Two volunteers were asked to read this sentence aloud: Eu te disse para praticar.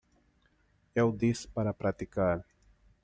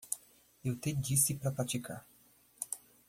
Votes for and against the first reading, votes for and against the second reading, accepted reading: 0, 2, 2, 0, second